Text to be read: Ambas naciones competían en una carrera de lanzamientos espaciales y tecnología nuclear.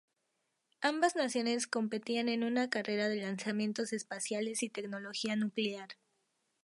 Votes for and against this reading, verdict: 0, 2, rejected